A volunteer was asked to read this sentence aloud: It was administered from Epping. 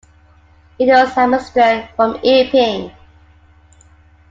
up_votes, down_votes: 2, 1